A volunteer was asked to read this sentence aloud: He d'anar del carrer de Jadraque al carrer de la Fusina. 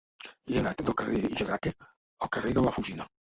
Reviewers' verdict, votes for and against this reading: rejected, 0, 2